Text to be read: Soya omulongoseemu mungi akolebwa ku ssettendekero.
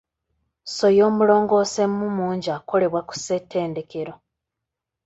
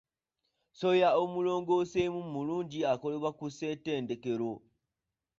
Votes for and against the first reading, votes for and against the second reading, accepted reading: 2, 0, 0, 2, first